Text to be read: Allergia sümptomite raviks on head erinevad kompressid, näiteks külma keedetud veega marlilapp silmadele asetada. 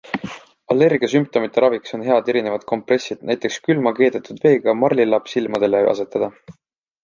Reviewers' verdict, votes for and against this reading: accepted, 2, 0